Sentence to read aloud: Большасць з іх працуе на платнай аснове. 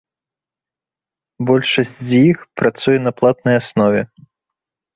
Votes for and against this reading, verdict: 2, 0, accepted